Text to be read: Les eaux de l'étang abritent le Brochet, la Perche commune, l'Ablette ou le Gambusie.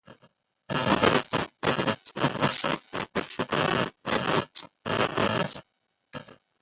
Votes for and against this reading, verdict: 0, 4, rejected